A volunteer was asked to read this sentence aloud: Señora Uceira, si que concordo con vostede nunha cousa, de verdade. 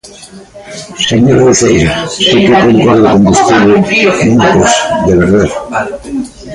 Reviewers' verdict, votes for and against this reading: rejected, 0, 2